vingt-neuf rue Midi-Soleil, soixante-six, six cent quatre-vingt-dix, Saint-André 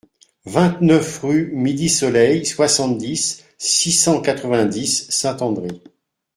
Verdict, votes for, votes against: rejected, 1, 2